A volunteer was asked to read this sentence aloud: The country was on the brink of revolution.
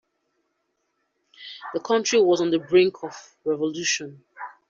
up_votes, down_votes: 2, 0